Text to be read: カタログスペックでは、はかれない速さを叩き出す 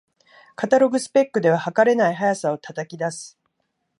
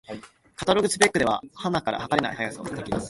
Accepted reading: first